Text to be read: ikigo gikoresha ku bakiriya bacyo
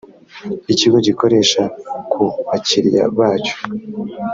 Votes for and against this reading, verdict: 2, 0, accepted